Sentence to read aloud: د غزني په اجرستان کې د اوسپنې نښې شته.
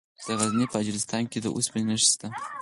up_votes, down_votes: 0, 4